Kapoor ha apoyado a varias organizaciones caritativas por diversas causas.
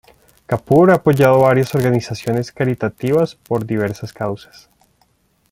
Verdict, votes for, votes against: rejected, 1, 2